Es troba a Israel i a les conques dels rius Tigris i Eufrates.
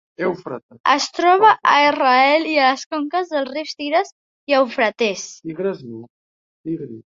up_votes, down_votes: 1, 2